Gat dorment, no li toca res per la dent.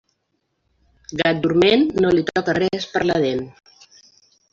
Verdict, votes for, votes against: rejected, 1, 2